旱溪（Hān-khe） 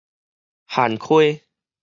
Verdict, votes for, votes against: rejected, 2, 2